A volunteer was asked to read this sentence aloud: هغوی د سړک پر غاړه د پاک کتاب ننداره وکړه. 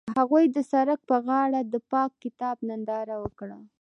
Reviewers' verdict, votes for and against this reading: accepted, 2, 0